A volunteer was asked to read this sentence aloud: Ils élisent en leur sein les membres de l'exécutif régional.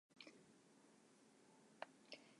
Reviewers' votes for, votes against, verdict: 0, 2, rejected